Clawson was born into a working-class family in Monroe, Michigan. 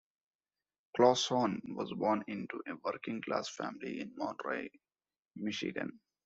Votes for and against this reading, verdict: 0, 2, rejected